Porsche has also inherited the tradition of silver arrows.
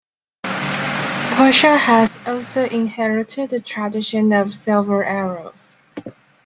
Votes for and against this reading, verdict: 1, 2, rejected